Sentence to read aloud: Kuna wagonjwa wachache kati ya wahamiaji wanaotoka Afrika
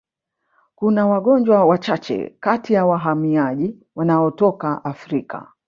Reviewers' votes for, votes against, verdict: 3, 0, accepted